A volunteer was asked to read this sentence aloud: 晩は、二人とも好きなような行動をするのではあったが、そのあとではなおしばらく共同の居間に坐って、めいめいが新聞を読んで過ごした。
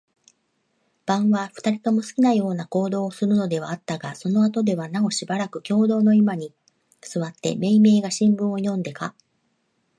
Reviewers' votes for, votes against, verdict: 0, 2, rejected